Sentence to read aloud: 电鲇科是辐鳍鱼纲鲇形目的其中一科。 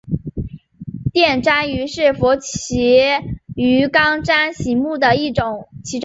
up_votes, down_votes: 1, 2